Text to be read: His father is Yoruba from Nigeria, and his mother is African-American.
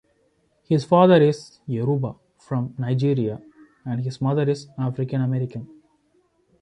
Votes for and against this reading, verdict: 2, 0, accepted